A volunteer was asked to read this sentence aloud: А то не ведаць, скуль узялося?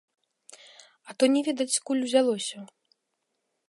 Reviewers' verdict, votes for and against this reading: rejected, 1, 2